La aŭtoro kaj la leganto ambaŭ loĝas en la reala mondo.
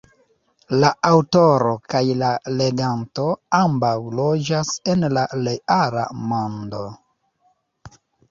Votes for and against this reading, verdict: 2, 0, accepted